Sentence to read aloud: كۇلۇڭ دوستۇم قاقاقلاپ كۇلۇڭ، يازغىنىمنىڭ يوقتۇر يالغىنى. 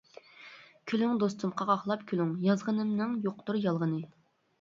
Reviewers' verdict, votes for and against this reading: rejected, 0, 2